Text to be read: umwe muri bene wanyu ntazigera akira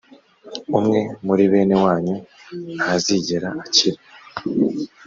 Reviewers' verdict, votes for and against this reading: accepted, 2, 0